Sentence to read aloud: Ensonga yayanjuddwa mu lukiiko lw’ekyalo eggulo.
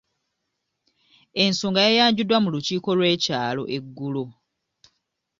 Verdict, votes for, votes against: rejected, 1, 2